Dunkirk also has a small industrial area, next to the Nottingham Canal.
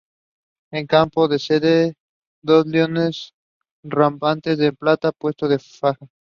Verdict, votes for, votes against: rejected, 0, 3